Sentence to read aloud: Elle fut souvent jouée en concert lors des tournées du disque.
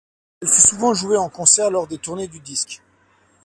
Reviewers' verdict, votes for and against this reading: rejected, 1, 2